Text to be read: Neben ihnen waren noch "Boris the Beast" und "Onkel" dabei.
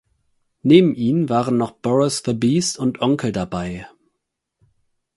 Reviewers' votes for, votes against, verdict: 4, 0, accepted